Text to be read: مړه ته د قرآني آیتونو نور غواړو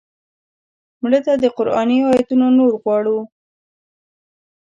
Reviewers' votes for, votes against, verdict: 2, 0, accepted